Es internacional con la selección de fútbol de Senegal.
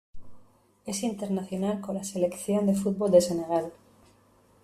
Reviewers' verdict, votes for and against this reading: accepted, 2, 0